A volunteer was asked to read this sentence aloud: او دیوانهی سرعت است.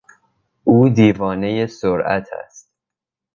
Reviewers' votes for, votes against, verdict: 2, 0, accepted